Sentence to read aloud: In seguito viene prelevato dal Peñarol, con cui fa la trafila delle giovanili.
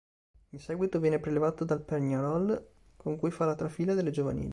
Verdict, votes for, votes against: accepted, 3, 1